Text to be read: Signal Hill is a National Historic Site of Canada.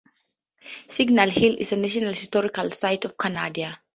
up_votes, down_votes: 2, 2